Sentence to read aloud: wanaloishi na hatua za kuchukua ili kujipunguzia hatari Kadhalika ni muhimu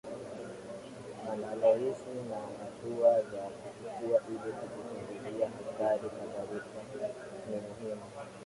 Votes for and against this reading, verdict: 0, 2, rejected